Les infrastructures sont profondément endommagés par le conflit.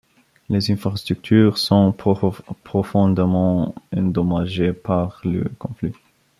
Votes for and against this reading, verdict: 0, 2, rejected